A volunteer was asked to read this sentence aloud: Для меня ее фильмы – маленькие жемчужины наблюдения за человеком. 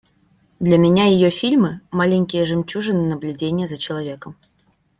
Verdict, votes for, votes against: accepted, 2, 0